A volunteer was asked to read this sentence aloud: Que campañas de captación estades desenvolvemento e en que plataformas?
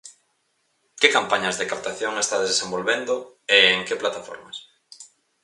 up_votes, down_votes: 2, 2